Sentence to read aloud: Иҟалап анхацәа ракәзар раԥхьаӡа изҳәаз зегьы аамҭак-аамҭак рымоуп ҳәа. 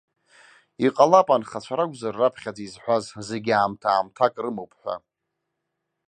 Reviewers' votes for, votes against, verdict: 2, 0, accepted